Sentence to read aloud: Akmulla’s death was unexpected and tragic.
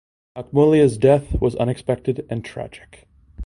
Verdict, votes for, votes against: accepted, 2, 0